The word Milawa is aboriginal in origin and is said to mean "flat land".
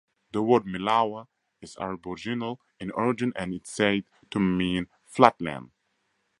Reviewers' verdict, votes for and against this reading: rejected, 0, 4